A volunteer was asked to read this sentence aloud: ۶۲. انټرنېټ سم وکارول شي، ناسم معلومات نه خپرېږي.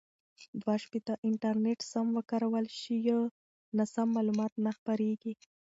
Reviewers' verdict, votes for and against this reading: rejected, 0, 2